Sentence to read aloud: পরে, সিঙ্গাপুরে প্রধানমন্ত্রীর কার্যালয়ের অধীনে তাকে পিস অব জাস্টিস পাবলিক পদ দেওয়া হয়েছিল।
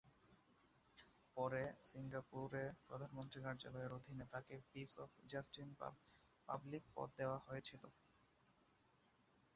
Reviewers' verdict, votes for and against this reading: rejected, 1, 2